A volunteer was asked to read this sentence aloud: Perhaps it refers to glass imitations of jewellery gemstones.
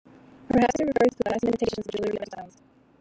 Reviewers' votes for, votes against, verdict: 1, 2, rejected